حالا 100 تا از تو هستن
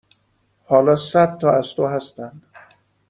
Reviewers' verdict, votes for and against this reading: rejected, 0, 2